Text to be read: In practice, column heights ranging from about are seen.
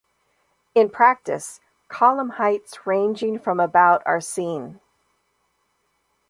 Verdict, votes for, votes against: accepted, 2, 0